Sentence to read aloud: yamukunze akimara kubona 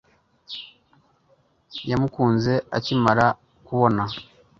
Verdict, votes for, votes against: accepted, 3, 0